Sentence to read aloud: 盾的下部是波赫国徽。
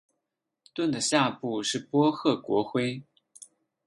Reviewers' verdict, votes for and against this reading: accepted, 12, 2